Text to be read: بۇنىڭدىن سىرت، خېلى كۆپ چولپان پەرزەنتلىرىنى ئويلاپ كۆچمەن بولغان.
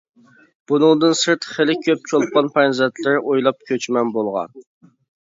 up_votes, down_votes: 0, 2